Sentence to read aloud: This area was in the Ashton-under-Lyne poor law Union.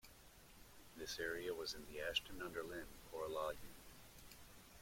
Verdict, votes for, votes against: rejected, 1, 2